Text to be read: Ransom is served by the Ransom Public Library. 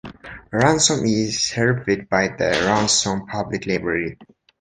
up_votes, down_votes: 2, 1